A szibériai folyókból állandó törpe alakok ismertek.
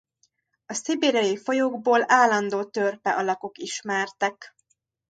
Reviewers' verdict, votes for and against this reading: accepted, 2, 0